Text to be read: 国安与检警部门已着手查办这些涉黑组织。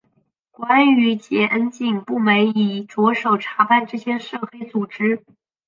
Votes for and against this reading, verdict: 3, 0, accepted